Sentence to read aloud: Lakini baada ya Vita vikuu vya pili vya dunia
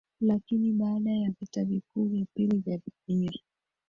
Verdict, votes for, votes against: accepted, 3, 2